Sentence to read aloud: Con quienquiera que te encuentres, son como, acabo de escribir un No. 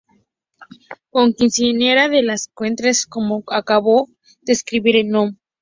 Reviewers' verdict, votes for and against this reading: rejected, 0, 2